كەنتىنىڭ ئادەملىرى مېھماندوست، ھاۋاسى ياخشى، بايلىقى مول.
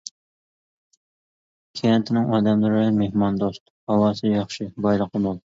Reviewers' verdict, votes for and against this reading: accepted, 2, 0